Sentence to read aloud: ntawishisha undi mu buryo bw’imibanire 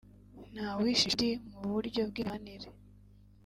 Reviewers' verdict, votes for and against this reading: rejected, 1, 2